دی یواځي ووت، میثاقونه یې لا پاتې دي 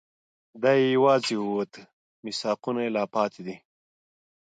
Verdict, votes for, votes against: accepted, 2, 0